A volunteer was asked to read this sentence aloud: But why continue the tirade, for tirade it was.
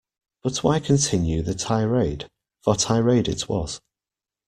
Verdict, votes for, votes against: accepted, 2, 0